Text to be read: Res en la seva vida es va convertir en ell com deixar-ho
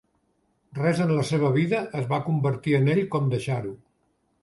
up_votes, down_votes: 4, 0